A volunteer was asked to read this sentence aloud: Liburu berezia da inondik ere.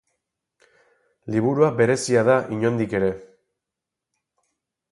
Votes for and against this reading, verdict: 2, 2, rejected